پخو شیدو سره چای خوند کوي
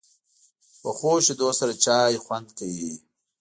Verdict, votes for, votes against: rejected, 1, 2